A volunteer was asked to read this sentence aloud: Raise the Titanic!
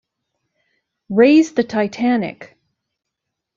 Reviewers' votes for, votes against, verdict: 2, 0, accepted